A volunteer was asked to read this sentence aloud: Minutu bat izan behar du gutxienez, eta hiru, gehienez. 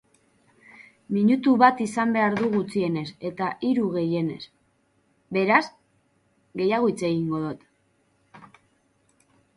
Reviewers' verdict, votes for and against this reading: rejected, 0, 2